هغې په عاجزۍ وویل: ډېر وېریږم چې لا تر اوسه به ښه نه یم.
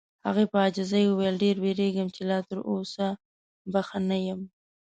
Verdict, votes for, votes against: accepted, 2, 0